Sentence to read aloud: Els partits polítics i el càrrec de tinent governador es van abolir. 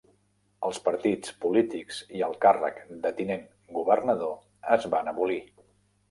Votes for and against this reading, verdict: 3, 0, accepted